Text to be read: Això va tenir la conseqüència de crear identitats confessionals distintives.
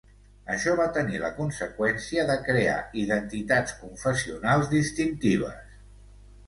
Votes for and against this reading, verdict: 3, 0, accepted